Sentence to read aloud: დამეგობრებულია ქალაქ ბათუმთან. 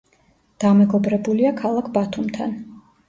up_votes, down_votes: 2, 0